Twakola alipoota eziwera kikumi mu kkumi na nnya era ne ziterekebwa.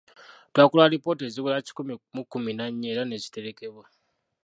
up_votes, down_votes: 1, 2